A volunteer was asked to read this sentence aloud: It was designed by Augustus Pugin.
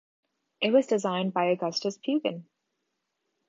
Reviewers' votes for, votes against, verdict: 2, 1, accepted